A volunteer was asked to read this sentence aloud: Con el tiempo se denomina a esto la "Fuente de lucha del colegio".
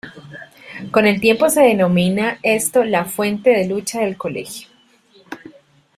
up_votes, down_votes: 1, 2